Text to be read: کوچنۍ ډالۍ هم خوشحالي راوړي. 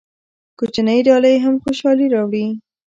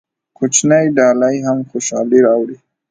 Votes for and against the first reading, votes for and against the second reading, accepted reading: 2, 0, 0, 2, first